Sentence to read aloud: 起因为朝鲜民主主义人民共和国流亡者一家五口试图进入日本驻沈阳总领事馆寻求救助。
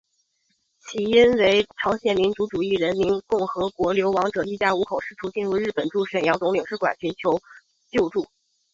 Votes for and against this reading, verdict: 2, 1, accepted